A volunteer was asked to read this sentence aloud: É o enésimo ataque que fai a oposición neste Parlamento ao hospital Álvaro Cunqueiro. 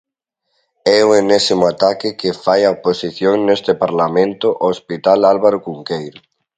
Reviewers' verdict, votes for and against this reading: accepted, 2, 0